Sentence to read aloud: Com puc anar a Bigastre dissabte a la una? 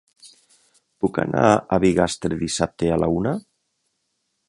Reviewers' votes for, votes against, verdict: 0, 3, rejected